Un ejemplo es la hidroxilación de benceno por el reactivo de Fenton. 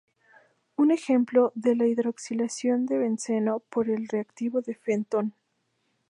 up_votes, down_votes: 0, 2